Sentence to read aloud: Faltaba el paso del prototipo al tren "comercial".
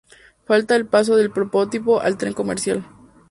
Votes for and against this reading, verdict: 0, 2, rejected